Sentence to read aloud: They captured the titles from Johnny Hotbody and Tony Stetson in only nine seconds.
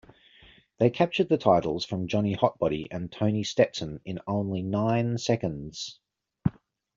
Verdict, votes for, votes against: accepted, 2, 1